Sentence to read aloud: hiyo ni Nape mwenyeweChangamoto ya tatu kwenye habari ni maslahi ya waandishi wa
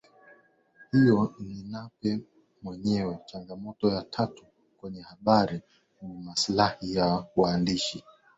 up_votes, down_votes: 3, 0